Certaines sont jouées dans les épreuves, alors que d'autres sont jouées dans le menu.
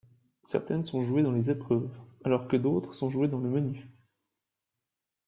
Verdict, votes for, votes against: accepted, 2, 0